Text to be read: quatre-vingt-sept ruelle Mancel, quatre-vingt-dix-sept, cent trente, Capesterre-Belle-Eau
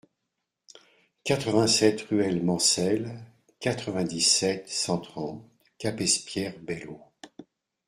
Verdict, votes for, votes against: rejected, 1, 2